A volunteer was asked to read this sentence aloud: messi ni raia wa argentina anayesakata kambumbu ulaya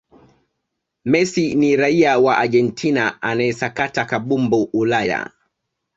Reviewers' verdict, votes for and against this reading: accepted, 2, 0